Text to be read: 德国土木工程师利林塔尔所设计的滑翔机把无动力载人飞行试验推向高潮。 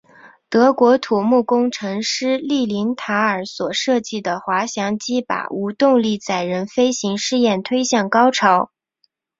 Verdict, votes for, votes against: accepted, 4, 0